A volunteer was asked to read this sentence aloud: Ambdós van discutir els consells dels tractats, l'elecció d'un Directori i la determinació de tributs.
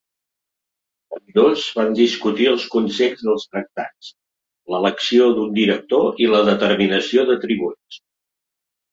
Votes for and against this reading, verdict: 0, 3, rejected